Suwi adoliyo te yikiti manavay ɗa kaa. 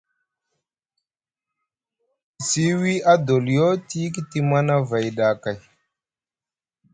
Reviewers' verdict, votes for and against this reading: rejected, 1, 2